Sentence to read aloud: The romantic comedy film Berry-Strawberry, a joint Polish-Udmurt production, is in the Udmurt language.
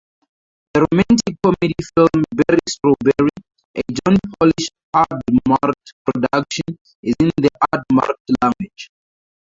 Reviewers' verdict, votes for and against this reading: rejected, 0, 4